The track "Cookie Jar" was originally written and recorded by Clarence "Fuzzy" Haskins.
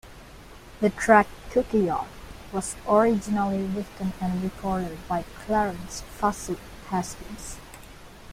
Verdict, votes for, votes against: rejected, 0, 2